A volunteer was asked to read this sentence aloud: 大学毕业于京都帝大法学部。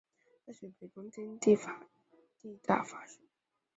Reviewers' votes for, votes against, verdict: 0, 2, rejected